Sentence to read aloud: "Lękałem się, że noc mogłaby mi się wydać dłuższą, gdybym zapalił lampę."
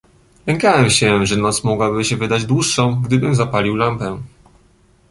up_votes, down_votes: 2, 0